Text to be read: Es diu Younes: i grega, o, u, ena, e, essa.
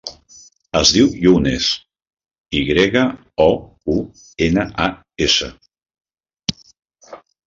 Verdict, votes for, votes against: rejected, 0, 2